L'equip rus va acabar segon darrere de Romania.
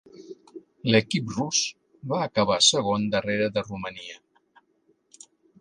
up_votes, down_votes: 3, 0